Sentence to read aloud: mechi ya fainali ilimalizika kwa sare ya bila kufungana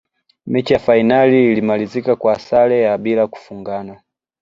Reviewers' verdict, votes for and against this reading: accepted, 2, 1